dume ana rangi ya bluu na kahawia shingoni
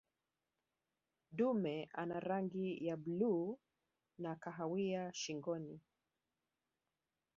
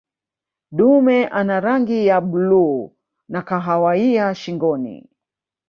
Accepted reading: first